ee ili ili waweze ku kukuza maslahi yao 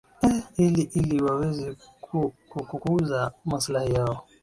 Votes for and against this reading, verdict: 2, 0, accepted